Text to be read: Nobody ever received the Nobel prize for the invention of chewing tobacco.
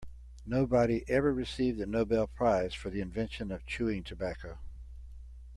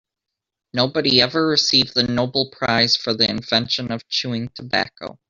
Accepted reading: first